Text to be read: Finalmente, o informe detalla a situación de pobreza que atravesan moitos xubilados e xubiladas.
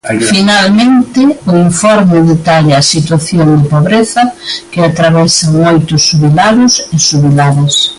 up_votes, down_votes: 0, 3